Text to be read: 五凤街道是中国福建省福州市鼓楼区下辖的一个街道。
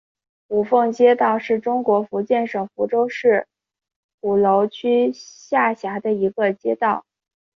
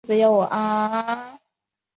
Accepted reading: first